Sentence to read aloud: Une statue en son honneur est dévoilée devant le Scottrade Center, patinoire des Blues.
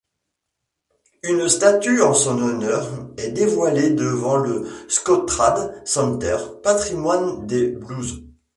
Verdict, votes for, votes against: rejected, 0, 2